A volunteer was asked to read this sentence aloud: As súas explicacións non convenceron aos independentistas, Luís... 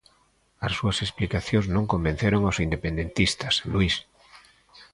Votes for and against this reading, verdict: 3, 0, accepted